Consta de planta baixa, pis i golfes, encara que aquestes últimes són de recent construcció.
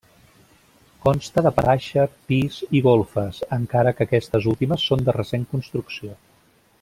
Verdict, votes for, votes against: rejected, 0, 2